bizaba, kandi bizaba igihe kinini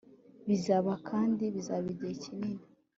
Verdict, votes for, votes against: accepted, 2, 0